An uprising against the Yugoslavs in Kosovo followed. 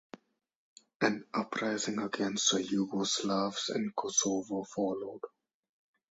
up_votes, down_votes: 2, 2